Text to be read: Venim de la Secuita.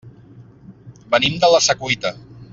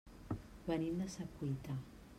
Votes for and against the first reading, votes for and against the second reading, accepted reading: 3, 0, 1, 2, first